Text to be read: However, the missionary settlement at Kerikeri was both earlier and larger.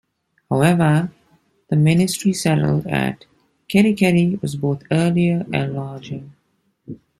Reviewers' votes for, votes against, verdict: 2, 1, accepted